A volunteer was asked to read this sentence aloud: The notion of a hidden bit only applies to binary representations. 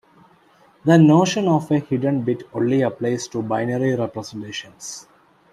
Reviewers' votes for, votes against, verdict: 2, 0, accepted